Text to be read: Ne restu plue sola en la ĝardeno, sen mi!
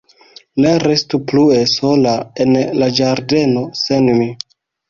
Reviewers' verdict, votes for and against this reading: rejected, 1, 2